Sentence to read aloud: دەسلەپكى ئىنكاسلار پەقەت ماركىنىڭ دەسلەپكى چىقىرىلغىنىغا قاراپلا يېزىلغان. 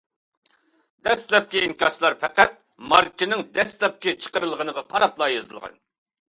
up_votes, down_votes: 2, 0